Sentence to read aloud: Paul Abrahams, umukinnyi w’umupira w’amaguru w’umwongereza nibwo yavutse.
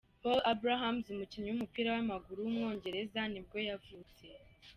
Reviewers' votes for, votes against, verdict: 2, 0, accepted